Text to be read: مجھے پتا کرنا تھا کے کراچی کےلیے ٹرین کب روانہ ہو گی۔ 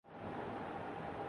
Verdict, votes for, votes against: rejected, 0, 2